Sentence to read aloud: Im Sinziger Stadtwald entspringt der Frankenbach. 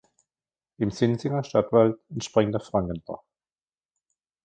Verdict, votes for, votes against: rejected, 1, 2